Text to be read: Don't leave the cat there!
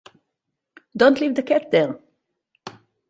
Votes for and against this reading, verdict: 2, 2, rejected